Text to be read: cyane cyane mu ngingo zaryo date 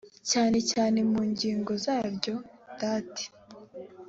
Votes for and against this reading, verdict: 2, 0, accepted